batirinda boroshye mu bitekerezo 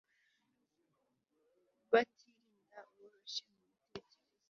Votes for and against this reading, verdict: 1, 2, rejected